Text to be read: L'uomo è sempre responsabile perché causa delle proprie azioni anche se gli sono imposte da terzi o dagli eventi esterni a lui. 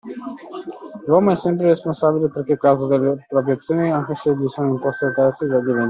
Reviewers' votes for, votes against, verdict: 0, 2, rejected